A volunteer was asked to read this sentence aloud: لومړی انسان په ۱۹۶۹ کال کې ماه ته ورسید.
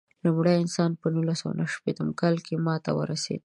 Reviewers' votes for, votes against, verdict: 0, 2, rejected